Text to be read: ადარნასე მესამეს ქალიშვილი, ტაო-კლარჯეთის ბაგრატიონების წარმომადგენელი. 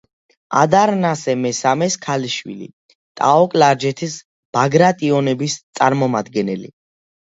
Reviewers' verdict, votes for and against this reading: accepted, 2, 0